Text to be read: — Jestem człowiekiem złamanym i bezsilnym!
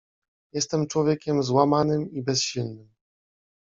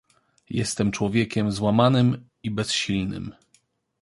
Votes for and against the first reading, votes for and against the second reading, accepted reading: 1, 2, 2, 0, second